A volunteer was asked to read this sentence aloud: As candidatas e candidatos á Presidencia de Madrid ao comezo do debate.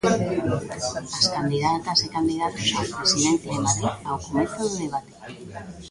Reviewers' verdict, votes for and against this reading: accepted, 2, 1